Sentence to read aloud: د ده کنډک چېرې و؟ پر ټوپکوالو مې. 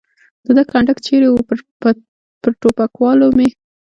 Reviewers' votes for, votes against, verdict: 4, 1, accepted